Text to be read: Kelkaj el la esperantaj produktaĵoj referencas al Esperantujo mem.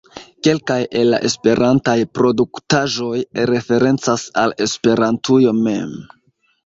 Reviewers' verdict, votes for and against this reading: accepted, 2, 1